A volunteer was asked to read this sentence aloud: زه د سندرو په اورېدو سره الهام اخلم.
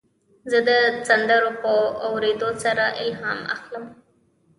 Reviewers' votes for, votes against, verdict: 1, 2, rejected